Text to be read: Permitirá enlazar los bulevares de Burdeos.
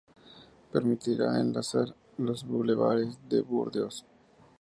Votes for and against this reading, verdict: 4, 2, accepted